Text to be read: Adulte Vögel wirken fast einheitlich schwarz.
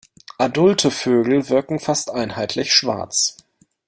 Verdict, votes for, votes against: accepted, 2, 0